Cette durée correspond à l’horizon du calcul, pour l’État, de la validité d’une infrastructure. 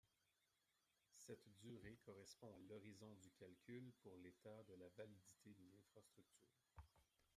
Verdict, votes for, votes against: rejected, 1, 2